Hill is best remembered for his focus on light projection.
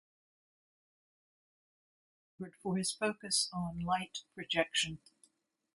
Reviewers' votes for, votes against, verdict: 0, 2, rejected